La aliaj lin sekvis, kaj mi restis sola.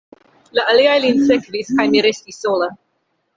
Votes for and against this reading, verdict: 2, 0, accepted